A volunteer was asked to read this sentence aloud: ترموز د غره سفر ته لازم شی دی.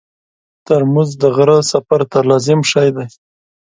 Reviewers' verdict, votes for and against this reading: accepted, 4, 1